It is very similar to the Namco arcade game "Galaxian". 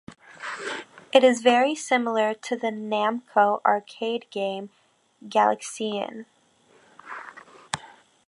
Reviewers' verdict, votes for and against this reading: accepted, 2, 0